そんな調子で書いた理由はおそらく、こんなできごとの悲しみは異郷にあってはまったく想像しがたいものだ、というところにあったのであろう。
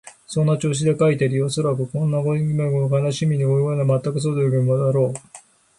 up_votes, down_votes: 0, 2